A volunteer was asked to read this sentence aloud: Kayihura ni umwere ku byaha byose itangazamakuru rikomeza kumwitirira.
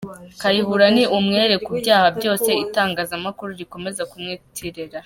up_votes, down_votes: 3, 0